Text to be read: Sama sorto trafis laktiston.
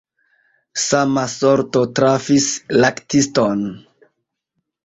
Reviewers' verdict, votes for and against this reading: accepted, 2, 0